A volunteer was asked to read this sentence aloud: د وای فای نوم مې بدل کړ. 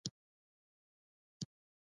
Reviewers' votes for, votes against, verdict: 1, 2, rejected